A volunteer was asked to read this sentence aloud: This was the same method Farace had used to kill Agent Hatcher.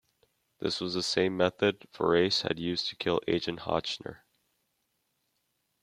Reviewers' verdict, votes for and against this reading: rejected, 0, 2